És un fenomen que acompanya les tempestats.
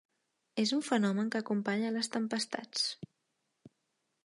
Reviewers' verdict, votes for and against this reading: accepted, 3, 0